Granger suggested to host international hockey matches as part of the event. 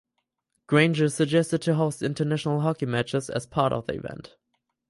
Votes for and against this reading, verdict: 4, 0, accepted